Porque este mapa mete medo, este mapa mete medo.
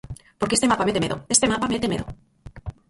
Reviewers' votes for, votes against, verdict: 0, 4, rejected